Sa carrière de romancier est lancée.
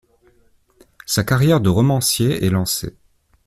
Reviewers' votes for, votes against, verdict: 2, 0, accepted